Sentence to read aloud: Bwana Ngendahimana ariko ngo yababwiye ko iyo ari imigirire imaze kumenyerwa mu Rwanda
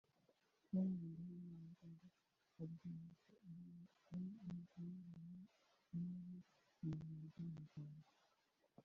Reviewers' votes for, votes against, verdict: 0, 2, rejected